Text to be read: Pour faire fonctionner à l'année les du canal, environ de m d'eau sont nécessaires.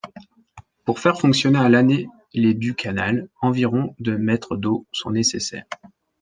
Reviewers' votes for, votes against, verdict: 1, 2, rejected